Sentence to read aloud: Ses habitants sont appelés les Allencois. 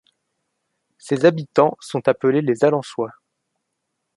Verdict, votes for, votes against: accepted, 2, 0